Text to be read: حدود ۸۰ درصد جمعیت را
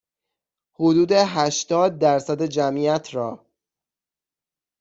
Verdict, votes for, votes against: rejected, 0, 2